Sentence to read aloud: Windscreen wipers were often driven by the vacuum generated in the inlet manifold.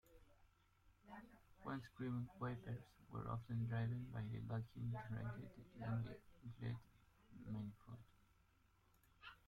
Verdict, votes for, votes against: rejected, 0, 2